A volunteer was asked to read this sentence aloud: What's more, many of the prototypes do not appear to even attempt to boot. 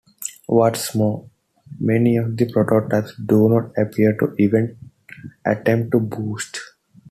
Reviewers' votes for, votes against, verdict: 2, 0, accepted